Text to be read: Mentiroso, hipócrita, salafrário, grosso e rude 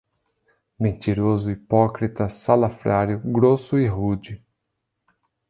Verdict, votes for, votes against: accepted, 2, 0